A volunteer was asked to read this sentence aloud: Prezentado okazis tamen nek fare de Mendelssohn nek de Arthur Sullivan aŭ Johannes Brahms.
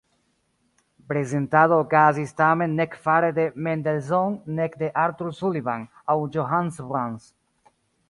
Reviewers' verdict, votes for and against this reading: rejected, 0, 2